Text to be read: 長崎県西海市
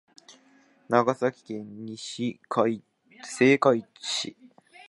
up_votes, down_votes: 0, 2